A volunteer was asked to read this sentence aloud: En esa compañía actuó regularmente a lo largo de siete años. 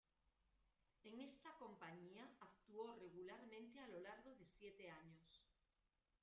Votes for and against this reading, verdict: 0, 2, rejected